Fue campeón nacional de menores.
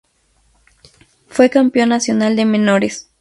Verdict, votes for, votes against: accepted, 6, 0